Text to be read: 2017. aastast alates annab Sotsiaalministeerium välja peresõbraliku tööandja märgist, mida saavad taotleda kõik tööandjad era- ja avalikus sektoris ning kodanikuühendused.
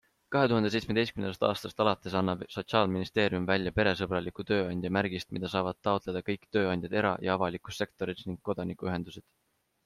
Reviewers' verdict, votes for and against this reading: rejected, 0, 2